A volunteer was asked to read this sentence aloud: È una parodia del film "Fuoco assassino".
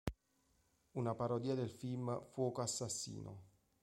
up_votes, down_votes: 0, 2